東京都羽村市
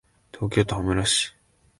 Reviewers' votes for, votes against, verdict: 2, 0, accepted